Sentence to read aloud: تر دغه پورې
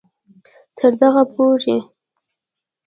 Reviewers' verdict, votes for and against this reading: rejected, 0, 2